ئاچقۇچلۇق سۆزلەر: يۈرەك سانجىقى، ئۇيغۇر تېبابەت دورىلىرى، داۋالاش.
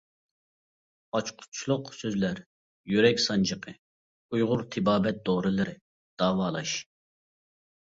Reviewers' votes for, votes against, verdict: 2, 0, accepted